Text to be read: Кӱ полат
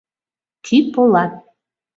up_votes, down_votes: 2, 0